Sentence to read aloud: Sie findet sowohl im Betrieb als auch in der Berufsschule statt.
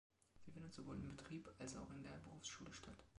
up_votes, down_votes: 1, 2